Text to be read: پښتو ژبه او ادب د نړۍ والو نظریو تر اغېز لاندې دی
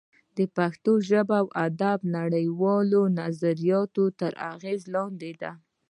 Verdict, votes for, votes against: rejected, 0, 2